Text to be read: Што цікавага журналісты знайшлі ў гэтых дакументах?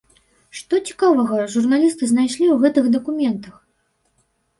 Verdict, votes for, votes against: accepted, 2, 0